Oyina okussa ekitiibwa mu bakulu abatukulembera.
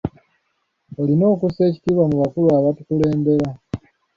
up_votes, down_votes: 1, 2